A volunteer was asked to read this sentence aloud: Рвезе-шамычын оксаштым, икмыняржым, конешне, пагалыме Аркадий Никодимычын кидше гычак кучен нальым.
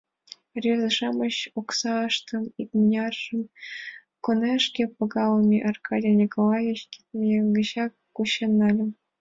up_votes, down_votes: 1, 5